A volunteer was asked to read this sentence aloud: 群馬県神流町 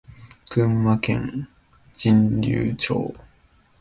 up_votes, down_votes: 2, 0